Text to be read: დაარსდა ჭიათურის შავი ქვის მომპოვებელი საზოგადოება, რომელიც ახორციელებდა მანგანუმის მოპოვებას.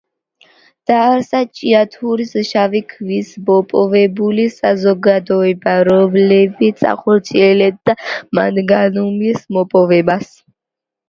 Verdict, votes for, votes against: rejected, 0, 2